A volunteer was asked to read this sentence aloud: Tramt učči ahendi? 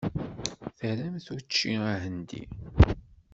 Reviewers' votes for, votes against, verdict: 1, 2, rejected